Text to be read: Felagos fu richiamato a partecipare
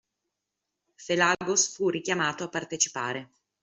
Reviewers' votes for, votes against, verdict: 2, 0, accepted